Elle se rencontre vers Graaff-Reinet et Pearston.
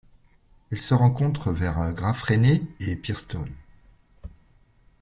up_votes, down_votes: 0, 2